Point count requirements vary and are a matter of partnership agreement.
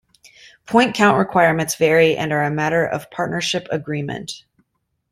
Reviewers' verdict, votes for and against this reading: accepted, 2, 0